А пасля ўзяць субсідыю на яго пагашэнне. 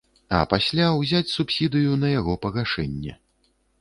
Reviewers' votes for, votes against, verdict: 1, 2, rejected